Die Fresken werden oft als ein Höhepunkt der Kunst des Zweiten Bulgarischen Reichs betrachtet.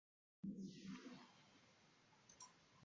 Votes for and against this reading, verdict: 0, 2, rejected